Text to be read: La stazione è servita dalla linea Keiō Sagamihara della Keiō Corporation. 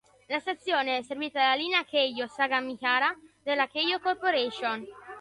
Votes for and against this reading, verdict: 2, 1, accepted